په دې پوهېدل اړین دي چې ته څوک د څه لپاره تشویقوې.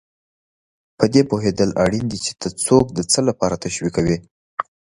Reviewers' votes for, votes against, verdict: 2, 0, accepted